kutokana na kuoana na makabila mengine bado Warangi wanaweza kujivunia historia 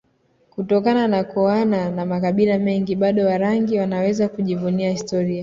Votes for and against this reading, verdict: 2, 1, accepted